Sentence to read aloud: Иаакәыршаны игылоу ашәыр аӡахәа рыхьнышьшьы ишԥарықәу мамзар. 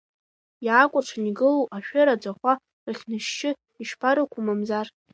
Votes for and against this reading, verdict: 1, 2, rejected